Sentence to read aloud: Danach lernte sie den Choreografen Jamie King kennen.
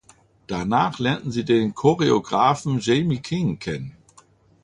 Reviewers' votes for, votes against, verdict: 1, 2, rejected